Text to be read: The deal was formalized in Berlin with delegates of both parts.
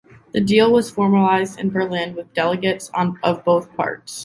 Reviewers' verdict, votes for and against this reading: rejected, 1, 2